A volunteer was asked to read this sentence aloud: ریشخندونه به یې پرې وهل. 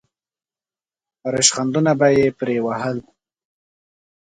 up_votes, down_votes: 2, 0